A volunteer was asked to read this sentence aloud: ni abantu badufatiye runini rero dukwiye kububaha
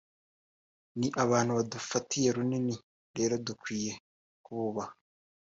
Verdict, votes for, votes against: accepted, 2, 0